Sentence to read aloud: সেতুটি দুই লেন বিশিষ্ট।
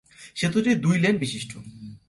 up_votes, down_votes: 2, 0